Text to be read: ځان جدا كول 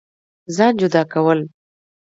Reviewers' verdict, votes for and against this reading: accepted, 2, 0